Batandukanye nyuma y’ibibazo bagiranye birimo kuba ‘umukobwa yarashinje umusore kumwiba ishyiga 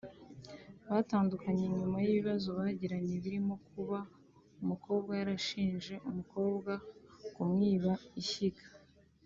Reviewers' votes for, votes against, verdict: 1, 3, rejected